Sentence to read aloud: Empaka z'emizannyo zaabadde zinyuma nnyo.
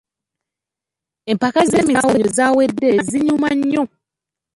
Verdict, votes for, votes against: rejected, 0, 2